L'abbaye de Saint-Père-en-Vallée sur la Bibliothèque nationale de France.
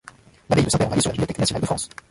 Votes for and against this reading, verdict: 0, 2, rejected